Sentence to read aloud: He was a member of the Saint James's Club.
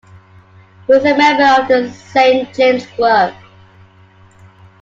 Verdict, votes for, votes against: rejected, 1, 2